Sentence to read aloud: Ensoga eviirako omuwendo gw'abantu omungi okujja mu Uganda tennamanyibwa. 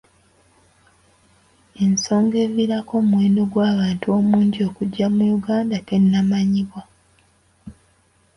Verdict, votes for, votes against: accepted, 2, 0